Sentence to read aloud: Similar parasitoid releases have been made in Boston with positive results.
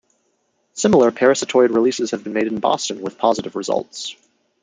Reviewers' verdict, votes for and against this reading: accepted, 2, 0